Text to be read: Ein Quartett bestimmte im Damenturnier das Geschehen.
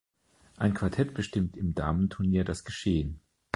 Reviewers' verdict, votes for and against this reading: rejected, 2, 3